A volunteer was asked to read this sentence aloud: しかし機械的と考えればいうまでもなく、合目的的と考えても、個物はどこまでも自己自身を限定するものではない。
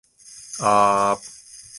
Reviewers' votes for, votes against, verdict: 0, 2, rejected